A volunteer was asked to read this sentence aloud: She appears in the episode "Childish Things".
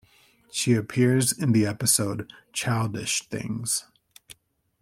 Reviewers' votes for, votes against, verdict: 2, 0, accepted